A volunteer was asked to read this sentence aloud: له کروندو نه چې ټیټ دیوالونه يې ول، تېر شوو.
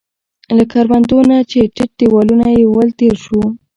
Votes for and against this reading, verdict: 0, 2, rejected